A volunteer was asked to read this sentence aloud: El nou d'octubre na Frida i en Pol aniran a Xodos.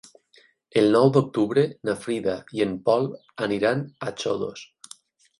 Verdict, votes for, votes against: accepted, 8, 0